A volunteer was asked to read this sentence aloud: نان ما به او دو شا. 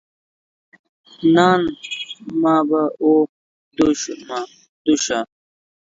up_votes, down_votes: 0, 2